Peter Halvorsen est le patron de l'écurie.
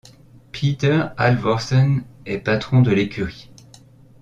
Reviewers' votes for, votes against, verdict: 0, 2, rejected